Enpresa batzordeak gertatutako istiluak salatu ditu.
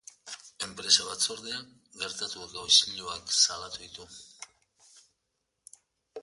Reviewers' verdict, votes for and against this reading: rejected, 0, 2